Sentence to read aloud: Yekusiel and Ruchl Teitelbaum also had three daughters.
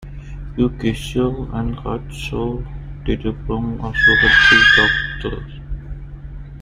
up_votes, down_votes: 0, 2